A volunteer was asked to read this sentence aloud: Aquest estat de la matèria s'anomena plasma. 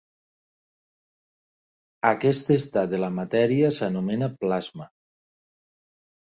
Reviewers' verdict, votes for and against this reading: accepted, 2, 0